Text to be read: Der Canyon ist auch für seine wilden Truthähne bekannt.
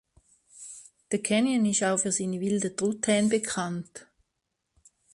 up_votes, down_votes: 2, 1